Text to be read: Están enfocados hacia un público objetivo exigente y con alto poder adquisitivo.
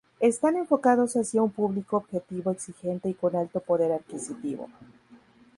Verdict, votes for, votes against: rejected, 0, 2